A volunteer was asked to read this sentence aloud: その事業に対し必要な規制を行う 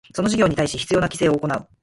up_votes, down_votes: 4, 0